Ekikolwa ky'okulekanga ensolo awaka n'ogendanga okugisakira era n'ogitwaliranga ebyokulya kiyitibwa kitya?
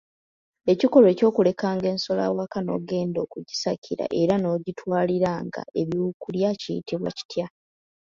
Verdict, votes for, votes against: rejected, 0, 2